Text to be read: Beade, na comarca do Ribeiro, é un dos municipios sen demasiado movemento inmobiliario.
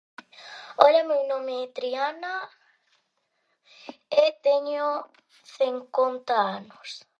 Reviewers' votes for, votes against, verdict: 0, 2, rejected